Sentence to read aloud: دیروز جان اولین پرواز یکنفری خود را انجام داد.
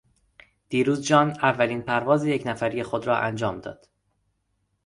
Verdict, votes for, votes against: accepted, 2, 0